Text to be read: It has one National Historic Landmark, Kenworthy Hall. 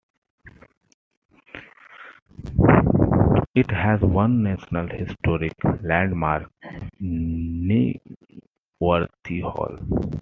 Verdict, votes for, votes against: accepted, 2, 0